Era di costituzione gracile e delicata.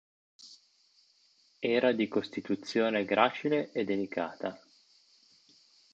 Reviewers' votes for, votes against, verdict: 2, 0, accepted